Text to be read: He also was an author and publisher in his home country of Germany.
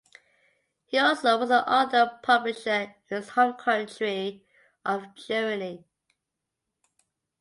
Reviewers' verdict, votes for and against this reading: rejected, 0, 2